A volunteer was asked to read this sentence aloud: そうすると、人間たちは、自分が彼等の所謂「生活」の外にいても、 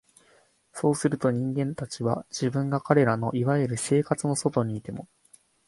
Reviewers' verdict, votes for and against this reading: accepted, 2, 0